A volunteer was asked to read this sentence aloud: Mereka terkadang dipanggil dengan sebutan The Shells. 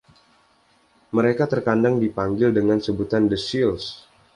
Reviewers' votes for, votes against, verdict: 1, 2, rejected